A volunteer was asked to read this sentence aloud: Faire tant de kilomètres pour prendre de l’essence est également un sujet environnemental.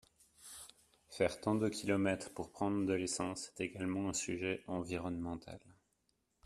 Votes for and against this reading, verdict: 1, 2, rejected